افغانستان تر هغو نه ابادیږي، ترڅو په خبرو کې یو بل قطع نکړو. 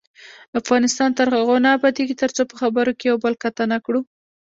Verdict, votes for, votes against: accepted, 2, 0